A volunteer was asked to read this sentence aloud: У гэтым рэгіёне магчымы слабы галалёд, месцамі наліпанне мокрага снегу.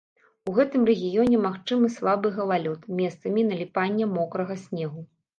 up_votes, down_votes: 3, 0